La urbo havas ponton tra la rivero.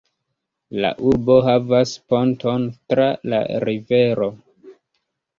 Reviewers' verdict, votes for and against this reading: accepted, 3, 1